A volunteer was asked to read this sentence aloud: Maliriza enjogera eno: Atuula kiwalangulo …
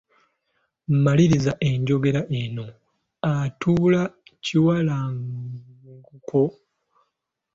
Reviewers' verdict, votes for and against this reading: rejected, 1, 2